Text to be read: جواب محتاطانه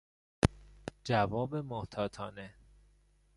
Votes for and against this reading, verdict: 2, 0, accepted